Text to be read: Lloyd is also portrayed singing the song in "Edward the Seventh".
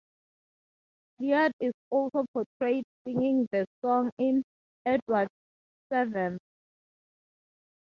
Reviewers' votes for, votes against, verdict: 0, 2, rejected